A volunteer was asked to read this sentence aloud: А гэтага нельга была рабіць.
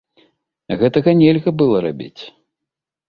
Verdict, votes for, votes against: accepted, 2, 0